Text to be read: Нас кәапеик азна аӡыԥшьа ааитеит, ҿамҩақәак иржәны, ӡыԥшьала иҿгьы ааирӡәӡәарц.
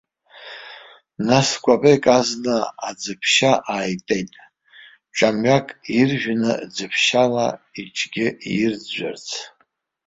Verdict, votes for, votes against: accepted, 2, 1